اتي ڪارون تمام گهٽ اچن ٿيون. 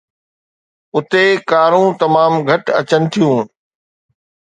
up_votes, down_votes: 2, 0